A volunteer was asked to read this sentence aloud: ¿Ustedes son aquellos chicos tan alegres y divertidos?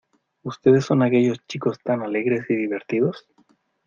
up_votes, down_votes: 2, 1